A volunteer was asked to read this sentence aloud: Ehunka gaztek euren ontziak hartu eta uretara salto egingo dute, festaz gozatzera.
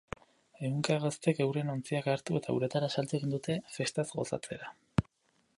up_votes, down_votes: 0, 2